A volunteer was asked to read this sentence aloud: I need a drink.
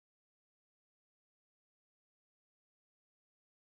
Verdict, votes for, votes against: rejected, 0, 2